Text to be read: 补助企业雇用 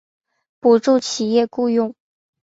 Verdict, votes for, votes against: accepted, 2, 0